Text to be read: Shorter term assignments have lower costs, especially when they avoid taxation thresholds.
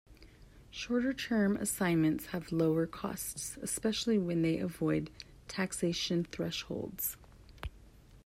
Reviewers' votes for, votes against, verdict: 2, 0, accepted